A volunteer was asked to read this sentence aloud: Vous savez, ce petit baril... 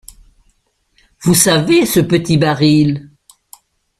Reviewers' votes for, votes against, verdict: 2, 0, accepted